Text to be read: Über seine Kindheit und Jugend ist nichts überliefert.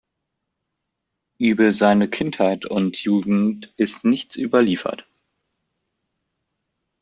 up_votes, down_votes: 2, 0